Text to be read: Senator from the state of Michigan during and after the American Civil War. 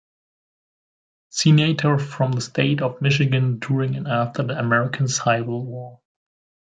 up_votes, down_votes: 0, 2